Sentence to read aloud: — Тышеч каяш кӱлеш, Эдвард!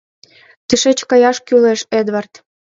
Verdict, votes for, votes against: accepted, 2, 0